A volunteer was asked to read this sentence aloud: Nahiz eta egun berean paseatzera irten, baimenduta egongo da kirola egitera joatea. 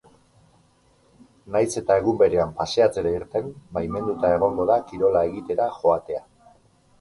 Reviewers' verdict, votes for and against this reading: accepted, 4, 0